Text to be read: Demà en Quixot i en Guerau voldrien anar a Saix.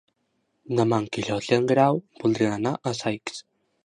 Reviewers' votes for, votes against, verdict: 1, 2, rejected